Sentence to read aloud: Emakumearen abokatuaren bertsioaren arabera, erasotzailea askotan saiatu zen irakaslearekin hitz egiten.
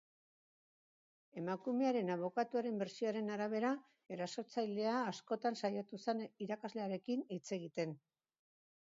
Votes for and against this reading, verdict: 1, 2, rejected